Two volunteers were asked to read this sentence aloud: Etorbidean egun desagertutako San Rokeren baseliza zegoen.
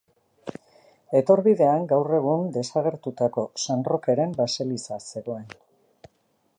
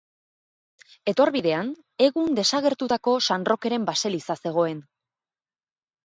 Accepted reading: second